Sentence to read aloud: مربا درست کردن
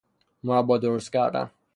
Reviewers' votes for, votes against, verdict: 3, 0, accepted